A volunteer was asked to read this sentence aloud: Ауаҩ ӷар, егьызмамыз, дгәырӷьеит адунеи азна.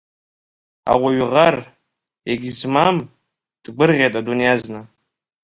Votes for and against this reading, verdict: 1, 2, rejected